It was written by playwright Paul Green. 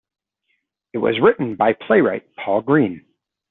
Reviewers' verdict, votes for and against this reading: accepted, 2, 0